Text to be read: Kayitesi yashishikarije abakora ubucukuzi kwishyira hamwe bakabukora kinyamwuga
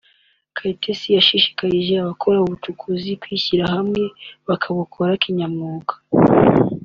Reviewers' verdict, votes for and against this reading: accepted, 2, 1